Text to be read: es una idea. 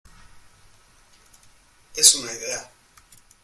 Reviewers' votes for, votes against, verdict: 1, 2, rejected